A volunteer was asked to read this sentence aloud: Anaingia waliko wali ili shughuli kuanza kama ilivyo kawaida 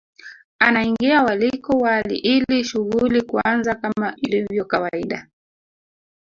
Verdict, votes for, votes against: rejected, 0, 2